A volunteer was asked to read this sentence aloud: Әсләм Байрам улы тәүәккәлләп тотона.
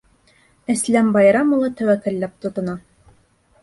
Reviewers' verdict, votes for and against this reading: accepted, 3, 0